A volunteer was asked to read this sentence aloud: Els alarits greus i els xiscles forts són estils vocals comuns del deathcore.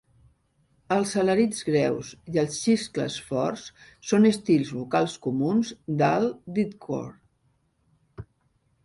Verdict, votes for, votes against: accepted, 3, 1